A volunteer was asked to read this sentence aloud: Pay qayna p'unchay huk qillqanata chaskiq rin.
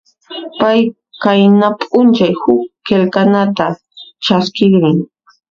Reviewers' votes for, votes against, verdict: 0, 2, rejected